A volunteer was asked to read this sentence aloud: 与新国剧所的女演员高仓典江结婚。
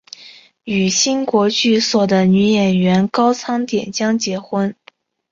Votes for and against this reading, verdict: 2, 1, accepted